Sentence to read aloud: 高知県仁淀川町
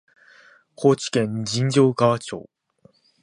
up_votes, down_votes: 0, 2